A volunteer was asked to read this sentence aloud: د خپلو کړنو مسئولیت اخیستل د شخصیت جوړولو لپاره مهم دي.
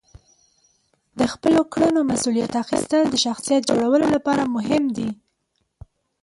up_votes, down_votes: 2, 0